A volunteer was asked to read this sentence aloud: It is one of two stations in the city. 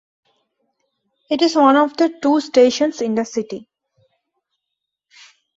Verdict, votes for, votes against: rejected, 0, 2